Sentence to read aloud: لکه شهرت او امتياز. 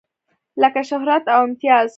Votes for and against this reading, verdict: 2, 0, accepted